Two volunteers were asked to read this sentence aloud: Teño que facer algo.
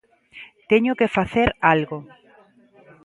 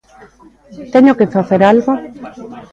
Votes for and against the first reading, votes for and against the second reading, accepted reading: 2, 0, 0, 2, first